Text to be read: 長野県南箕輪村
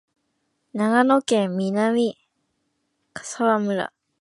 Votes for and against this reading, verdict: 0, 2, rejected